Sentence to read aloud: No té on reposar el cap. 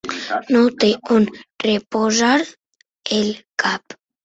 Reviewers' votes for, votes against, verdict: 3, 1, accepted